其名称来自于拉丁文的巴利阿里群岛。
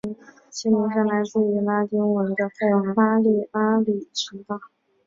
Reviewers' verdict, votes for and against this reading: rejected, 2, 3